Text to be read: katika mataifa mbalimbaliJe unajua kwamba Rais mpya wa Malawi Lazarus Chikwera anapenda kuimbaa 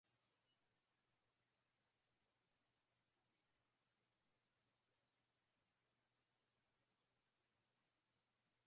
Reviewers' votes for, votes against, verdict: 0, 4, rejected